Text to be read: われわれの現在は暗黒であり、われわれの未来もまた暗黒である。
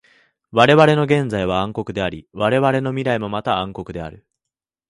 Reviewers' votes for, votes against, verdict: 2, 1, accepted